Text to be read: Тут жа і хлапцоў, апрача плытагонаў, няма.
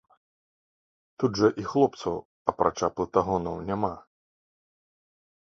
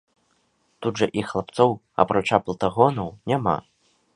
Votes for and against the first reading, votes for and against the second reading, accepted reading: 0, 2, 2, 0, second